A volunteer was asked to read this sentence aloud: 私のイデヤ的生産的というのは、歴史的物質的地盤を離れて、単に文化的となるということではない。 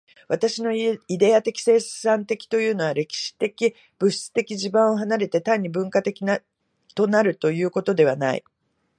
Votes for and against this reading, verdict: 1, 2, rejected